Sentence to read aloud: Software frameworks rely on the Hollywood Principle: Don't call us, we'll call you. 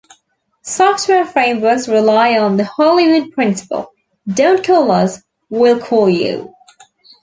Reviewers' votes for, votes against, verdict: 2, 0, accepted